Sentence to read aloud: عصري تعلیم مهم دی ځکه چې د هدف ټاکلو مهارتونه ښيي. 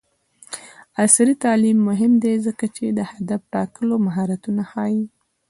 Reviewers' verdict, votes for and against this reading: accepted, 2, 0